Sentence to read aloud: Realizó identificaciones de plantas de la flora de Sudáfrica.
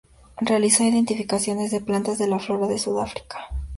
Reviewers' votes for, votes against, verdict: 2, 0, accepted